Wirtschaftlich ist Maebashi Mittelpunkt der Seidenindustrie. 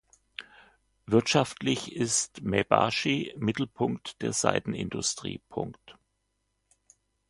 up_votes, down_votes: 2, 1